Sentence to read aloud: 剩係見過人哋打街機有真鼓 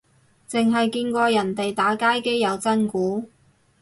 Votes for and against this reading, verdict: 2, 2, rejected